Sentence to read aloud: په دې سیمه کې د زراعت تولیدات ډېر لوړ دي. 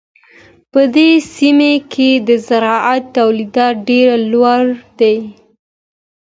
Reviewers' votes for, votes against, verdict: 2, 0, accepted